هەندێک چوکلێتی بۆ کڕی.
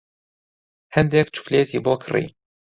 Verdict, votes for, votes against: accepted, 2, 0